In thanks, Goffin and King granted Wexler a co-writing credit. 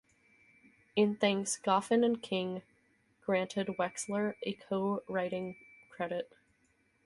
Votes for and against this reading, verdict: 2, 2, rejected